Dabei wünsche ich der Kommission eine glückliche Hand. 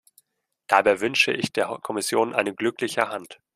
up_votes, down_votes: 0, 2